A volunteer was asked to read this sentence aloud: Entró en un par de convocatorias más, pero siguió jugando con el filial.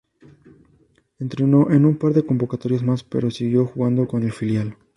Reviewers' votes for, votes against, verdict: 0, 2, rejected